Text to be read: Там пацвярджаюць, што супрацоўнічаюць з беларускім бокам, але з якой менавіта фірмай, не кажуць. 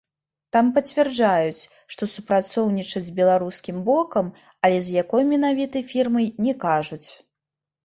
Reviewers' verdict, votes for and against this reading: accepted, 2, 0